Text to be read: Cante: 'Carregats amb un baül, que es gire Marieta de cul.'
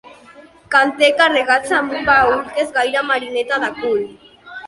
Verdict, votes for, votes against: rejected, 0, 2